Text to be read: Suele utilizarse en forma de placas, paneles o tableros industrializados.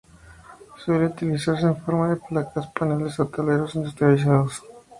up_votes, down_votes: 2, 0